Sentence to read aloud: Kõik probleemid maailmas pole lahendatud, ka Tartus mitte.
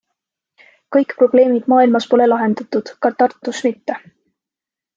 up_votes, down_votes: 3, 0